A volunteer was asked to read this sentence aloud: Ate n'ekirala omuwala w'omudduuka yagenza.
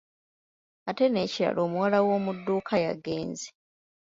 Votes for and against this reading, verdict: 1, 2, rejected